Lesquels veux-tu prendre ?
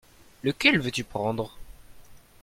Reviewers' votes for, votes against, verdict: 1, 2, rejected